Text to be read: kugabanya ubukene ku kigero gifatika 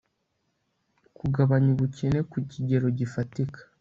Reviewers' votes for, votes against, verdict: 2, 0, accepted